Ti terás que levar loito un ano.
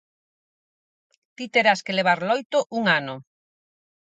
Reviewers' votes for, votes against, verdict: 4, 0, accepted